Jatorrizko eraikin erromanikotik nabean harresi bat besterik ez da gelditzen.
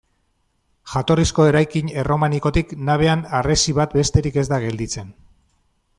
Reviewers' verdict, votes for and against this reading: accepted, 2, 0